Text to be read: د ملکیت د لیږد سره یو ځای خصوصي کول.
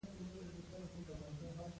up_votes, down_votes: 0, 2